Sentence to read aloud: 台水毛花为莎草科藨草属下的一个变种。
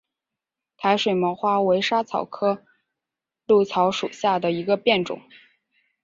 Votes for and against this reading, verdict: 2, 1, accepted